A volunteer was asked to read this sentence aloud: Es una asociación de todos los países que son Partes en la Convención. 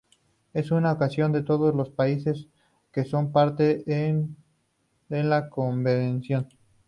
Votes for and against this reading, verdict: 2, 0, accepted